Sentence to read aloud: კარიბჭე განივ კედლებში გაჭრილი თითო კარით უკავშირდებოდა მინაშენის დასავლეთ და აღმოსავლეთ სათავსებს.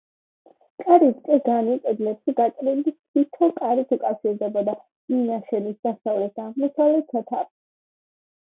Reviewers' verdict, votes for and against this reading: rejected, 1, 2